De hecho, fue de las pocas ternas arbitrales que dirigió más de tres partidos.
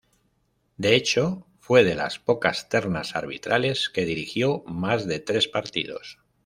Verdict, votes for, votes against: accepted, 2, 0